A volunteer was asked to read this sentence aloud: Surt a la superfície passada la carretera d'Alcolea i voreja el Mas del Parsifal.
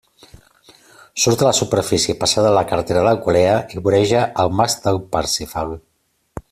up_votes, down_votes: 2, 0